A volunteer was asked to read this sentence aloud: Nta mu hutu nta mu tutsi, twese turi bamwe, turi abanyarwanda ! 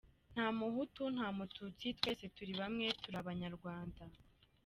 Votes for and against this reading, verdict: 2, 0, accepted